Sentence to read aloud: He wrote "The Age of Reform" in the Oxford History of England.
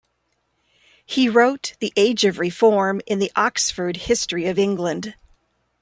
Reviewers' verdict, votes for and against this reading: accepted, 3, 0